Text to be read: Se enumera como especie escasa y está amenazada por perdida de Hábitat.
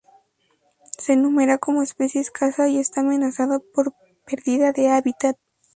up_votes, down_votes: 0, 2